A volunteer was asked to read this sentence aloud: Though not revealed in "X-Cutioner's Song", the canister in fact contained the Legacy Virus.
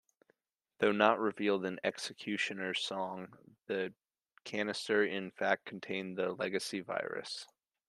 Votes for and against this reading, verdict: 0, 2, rejected